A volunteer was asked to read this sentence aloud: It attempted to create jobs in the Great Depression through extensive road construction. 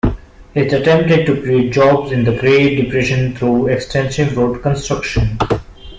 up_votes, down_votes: 2, 0